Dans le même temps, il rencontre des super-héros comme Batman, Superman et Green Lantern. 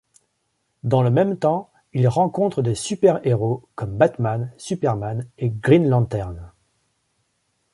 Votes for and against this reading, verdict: 2, 0, accepted